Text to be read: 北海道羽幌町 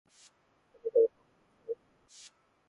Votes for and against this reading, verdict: 1, 2, rejected